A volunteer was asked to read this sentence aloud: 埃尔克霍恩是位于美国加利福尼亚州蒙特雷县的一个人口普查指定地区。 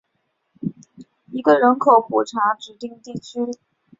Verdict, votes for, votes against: rejected, 0, 2